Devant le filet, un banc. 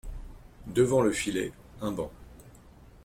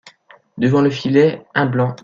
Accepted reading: first